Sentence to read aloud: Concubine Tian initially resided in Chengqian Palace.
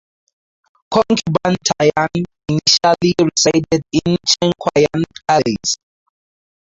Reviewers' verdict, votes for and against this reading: rejected, 2, 4